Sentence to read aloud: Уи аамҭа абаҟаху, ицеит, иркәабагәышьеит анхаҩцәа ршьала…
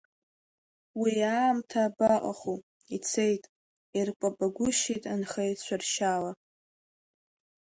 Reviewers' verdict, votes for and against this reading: rejected, 1, 2